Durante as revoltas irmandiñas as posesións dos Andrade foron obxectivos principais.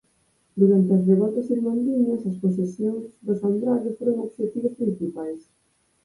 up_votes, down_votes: 2, 4